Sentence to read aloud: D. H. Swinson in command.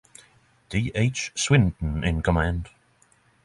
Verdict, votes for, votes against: accepted, 3, 0